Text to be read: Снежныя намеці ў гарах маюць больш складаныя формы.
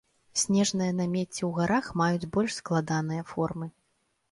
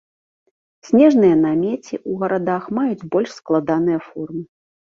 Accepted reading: first